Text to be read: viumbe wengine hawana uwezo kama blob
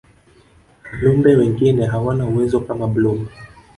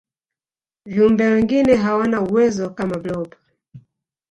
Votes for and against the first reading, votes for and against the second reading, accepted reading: 3, 0, 1, 2, first